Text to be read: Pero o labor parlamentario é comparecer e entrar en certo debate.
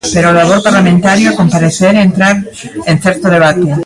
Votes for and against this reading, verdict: 0, 2, rejected